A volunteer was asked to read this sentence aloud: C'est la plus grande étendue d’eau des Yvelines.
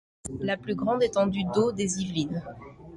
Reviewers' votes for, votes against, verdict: 0, 2, rejected